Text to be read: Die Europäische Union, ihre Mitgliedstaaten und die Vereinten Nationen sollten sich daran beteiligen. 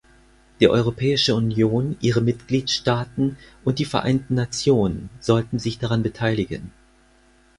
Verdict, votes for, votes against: accepted, 4, 2